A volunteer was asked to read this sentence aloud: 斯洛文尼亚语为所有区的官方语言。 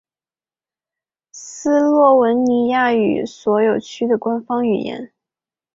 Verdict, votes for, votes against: accepted, 2, 0